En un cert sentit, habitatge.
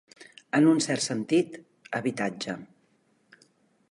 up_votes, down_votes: 3, 0